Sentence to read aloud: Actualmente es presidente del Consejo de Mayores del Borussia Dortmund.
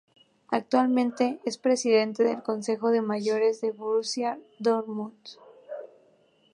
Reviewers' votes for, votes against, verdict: 2, 0, accepted